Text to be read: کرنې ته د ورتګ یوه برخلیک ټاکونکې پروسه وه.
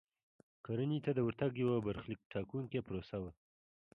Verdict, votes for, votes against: accepted, 2, 0